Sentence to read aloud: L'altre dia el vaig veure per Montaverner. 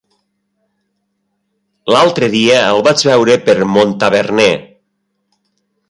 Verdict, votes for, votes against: accepted, 3, 0